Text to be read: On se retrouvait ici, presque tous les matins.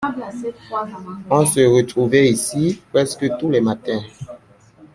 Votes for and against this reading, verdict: 2, 0, accepted